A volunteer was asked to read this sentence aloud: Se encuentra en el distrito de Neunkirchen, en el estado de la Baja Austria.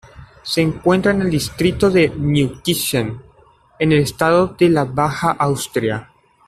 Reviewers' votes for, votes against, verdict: 2, 1, accepted